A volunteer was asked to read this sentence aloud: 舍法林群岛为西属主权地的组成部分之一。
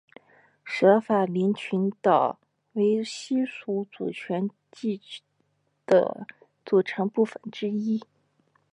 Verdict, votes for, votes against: accepted, 2, 0